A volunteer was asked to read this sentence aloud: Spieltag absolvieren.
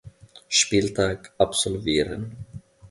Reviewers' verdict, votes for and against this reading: accepted, 2, 0